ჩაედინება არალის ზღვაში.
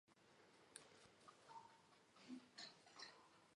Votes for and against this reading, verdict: 1, 2, rejected